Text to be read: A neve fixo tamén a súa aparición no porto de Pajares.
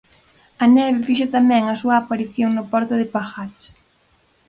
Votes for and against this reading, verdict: 4, 0, accepted